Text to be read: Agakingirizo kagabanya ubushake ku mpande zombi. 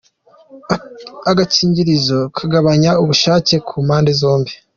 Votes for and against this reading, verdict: 2, 0, accepted